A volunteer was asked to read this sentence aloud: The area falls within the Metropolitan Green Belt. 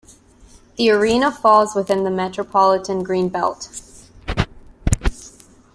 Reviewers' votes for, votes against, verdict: 1, 2, rejected